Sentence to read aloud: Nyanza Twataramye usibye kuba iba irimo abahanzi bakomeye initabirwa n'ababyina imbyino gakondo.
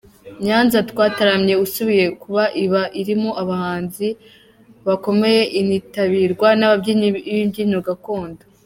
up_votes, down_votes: 1, 2